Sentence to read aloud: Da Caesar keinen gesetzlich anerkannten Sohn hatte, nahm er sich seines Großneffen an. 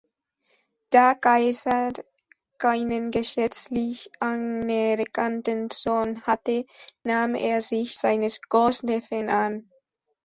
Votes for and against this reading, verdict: 0, 3, rejected